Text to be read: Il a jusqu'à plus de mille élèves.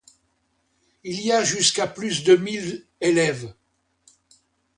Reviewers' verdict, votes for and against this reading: rejected, 1, 2